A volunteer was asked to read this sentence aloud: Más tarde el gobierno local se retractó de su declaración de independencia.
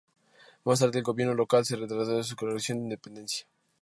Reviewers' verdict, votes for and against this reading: rejected, 2, 2